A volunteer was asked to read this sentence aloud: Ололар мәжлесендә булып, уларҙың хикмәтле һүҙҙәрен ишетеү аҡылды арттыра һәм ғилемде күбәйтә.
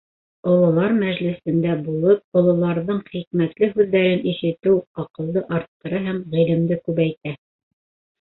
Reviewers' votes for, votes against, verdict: 0, 2, rejected